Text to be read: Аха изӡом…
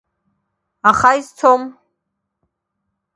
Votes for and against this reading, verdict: 1, 2, rejected